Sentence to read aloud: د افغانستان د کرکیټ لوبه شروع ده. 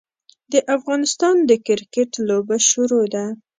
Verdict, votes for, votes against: accepted, 2, 0